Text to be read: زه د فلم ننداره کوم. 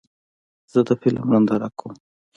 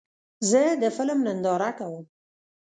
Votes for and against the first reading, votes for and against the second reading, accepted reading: 2, 1, 0, 2, first